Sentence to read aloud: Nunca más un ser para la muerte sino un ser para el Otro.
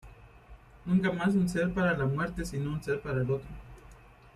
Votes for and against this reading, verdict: 2, 1, accepted